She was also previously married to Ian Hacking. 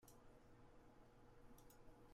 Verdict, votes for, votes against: rejected, 0, 2